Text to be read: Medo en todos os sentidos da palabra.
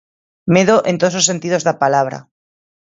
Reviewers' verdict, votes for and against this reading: accepted, 3, 0